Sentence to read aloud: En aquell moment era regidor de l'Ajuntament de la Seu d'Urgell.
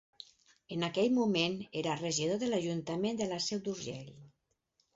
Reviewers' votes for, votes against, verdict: 4, 0, accepted